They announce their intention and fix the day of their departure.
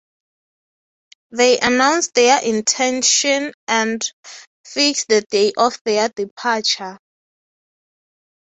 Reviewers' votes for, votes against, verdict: 6, 0, accepted